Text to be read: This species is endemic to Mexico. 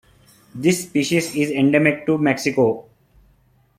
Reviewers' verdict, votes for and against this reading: accepted, 2, 0